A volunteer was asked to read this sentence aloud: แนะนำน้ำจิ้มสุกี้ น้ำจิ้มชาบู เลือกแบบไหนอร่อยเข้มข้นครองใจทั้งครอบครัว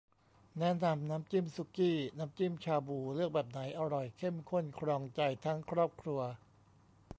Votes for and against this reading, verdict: 2, 0, accepted